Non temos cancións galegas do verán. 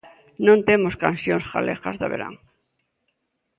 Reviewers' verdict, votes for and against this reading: accepted, 2, 0